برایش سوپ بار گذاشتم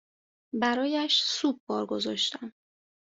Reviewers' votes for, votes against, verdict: 2, 0, accepted